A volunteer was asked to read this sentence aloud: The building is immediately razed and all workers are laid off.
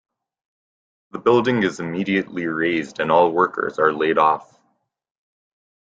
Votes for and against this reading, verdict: 2, 0, accepted